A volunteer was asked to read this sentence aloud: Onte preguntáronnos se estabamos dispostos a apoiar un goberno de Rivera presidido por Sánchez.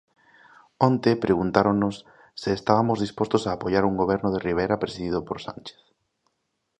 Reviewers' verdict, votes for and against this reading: rejected, 0, 2